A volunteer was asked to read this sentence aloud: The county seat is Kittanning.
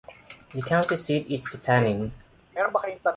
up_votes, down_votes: 1, 2